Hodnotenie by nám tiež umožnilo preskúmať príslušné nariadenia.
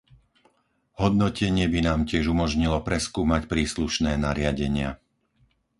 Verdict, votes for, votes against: accepted, 4, 0